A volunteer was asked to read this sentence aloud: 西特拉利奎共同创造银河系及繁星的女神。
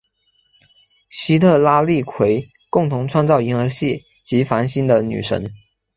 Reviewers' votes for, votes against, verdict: 2, 1, accepted